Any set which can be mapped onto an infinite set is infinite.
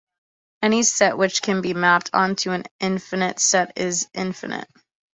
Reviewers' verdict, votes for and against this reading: accepted, 2, 0